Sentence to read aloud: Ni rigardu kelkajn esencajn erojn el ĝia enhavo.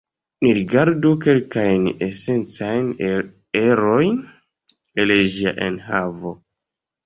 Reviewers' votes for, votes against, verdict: 1, 2, rejected